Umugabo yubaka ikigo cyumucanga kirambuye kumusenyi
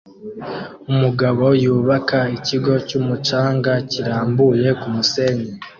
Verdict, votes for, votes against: accepted, 2, 0